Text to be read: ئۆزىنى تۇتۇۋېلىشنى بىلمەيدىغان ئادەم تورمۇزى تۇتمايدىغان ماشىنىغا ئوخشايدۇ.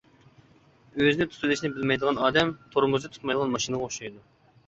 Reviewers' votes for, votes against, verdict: 2, 1, accepted